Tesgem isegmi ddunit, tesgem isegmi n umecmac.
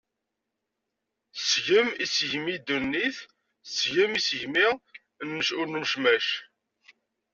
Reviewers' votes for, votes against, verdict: 0, 2, rejected